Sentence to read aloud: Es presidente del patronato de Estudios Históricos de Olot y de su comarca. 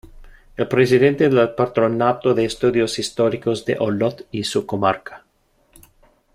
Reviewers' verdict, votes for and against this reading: accepted, 2, 1